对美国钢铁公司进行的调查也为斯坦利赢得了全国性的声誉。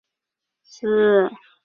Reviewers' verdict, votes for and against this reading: rejected, 0, 2